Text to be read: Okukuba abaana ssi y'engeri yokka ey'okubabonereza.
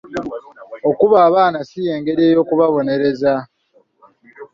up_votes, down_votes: 1, 2